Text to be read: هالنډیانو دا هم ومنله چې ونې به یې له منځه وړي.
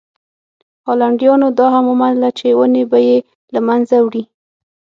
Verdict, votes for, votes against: accepted, 6, 0